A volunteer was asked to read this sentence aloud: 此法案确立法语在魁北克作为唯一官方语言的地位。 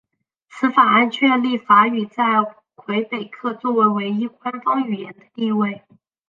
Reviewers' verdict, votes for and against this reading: accepted, 2, 0